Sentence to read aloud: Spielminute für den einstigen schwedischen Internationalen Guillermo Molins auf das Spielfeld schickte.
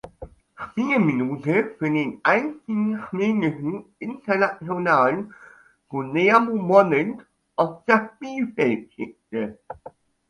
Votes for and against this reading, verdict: 1, 2, rejected